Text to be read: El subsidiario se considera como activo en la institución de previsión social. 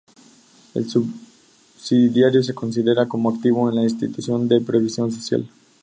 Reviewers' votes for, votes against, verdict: 2, 0, accepted